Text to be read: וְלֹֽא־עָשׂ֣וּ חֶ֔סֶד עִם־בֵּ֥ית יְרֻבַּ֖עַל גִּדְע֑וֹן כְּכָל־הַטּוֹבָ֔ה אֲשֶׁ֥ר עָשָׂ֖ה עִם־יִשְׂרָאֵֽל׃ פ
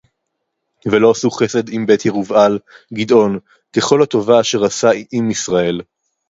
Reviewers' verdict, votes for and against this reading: rejected, 0, 2